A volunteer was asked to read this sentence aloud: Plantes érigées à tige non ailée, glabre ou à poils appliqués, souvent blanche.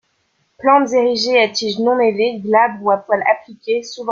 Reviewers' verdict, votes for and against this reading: rejected, 0, 2